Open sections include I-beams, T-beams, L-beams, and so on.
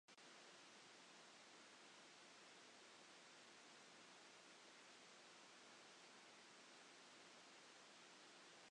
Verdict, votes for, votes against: rejected, 0, 2